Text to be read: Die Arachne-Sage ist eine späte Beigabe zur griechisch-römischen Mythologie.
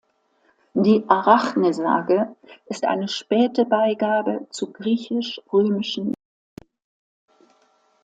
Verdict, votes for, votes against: rejected, 0, 2